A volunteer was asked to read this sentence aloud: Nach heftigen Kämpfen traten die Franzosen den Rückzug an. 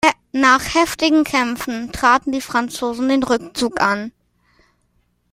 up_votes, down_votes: 2, 0